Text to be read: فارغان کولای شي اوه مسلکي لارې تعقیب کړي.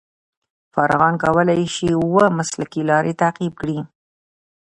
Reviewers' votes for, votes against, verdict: 0, 2, rejected